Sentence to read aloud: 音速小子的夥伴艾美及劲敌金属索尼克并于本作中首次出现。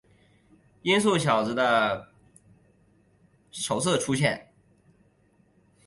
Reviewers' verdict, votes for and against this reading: rejected, 0, 2